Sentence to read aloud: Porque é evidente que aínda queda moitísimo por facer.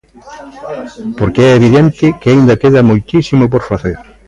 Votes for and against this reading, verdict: 0, 2, rejected